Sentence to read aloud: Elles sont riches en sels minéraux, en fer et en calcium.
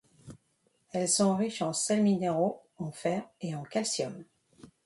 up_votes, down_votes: 3, 0